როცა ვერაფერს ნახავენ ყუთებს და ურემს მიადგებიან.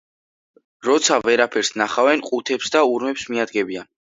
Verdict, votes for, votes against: accepted, 2, 0